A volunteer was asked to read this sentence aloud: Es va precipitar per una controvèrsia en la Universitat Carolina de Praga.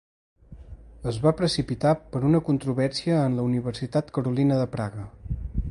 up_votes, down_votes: 2, 0